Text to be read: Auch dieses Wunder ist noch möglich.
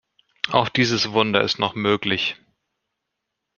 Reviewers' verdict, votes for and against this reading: accepted, 2, 0